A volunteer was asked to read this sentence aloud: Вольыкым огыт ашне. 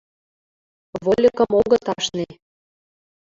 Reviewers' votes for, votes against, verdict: 2, 1, accepted